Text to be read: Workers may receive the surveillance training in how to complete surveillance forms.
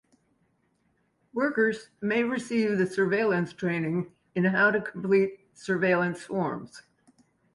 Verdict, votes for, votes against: accepted, 2, 0